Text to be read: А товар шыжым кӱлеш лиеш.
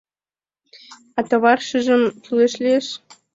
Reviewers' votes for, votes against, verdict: 2, 0, accepted